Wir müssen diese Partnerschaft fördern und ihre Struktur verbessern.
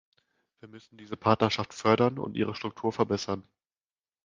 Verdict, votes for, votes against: rejected, 1, 2